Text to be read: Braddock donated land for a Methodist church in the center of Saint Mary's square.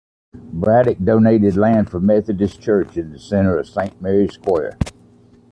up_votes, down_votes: 2, 0